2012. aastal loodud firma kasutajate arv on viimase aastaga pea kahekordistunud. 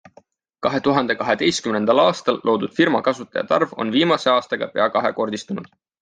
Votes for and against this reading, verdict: 0, 2, rejected